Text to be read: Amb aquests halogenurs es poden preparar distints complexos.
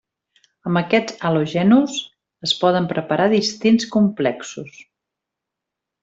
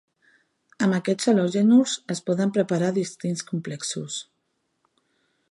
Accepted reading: second